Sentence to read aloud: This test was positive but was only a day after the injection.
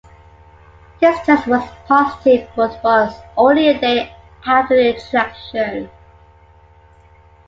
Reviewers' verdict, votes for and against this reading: rejected, 1, 2